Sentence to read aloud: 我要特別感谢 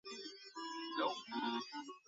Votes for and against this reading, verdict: 2, 1, accepted